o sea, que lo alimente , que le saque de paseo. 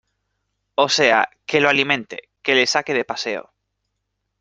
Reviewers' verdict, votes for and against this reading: accepted, 2, 0